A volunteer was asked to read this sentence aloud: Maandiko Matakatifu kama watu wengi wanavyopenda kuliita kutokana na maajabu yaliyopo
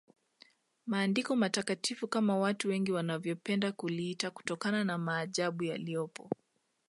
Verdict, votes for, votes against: accepted, 2, 0